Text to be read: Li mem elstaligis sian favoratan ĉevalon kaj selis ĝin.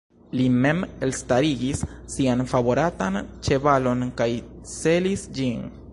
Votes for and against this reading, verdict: 2, 1, accepted